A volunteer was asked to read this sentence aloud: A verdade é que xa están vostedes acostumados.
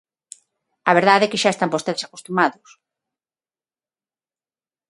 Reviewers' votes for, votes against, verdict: 6, 0, accepted